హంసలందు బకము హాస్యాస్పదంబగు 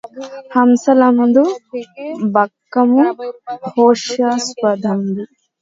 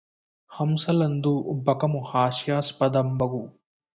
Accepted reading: second